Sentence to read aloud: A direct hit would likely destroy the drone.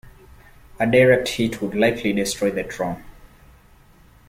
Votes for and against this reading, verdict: 2, 0, accepted